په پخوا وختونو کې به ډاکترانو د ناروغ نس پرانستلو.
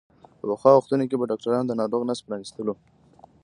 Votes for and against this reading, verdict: 2, 1, accepted